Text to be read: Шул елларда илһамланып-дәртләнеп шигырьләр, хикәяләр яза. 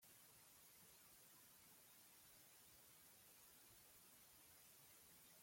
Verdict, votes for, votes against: rejected, 0, 2